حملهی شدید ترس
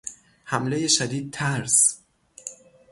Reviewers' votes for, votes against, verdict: 3, 3, rejected